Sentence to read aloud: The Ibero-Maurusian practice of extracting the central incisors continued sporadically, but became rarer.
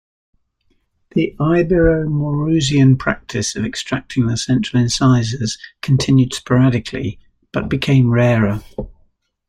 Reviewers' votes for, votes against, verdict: 2, 0, accepted